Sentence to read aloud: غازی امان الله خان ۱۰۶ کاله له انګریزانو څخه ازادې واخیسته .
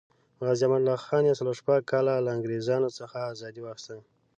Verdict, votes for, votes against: rejected, 0, 2